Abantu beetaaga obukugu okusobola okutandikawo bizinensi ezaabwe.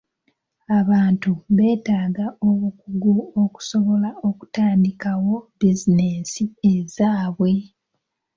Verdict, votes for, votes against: accepted, 2, 0